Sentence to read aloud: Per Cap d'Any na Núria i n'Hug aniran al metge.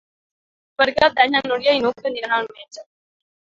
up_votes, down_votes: 2, 0